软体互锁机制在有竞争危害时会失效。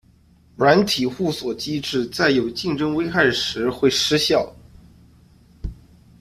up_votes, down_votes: 2, 0